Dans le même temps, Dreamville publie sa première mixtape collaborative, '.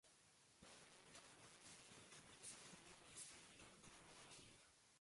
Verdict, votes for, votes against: rejected, 0, 2